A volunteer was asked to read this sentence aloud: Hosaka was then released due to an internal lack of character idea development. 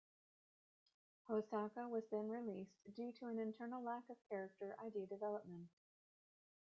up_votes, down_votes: 0, 2